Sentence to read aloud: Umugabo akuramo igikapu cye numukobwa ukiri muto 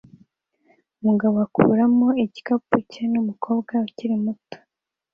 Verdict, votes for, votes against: accepted, 2, 0